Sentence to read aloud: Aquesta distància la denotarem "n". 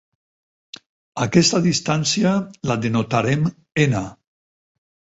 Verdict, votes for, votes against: accepted, 4, 0